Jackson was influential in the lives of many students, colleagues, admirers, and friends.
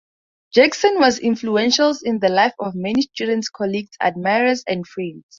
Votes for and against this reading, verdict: 2, 0, accepted